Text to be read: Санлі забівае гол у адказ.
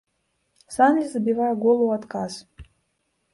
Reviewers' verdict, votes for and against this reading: accepted, 2, 0